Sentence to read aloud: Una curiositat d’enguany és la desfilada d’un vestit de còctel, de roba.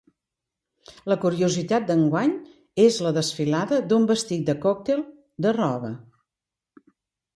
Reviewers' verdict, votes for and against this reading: rejected, 0, 2